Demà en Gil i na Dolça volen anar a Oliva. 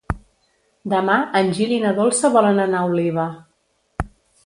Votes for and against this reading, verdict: 3, 0, accepted